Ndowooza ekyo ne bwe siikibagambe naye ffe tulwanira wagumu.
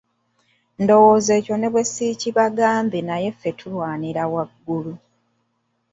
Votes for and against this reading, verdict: 1, 2, rejected